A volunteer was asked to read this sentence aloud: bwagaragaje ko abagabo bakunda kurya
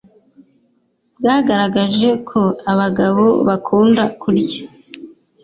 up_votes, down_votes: 2, 0